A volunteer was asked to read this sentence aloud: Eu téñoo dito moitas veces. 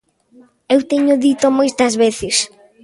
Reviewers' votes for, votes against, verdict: 2, 0, accepted